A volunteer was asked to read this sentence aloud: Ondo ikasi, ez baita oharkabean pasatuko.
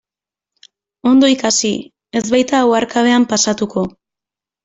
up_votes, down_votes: 2, 0